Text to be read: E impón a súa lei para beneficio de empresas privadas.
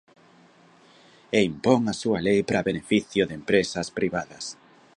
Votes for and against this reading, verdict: 0, 2, rejected